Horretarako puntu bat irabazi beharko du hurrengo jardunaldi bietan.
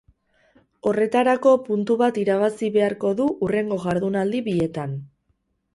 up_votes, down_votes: 4, 4